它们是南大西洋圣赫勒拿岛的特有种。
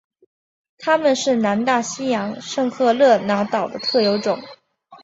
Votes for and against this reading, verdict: 3, 2, accepted